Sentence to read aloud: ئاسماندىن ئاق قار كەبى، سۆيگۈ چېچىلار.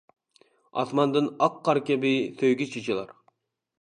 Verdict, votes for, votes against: rejected, 0, 2